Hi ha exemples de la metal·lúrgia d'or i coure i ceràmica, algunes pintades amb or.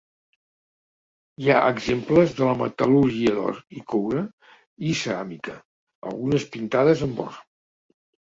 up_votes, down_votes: 2, 1